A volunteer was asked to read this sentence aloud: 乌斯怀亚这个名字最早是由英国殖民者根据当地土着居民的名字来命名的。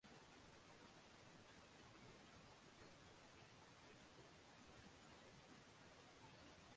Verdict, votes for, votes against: rejected, 0, 4